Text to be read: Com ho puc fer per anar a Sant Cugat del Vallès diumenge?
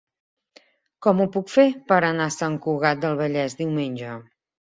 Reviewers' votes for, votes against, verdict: 2, 0, accepted